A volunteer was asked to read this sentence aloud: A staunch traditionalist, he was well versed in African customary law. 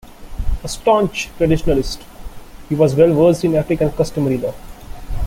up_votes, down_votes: 2, 3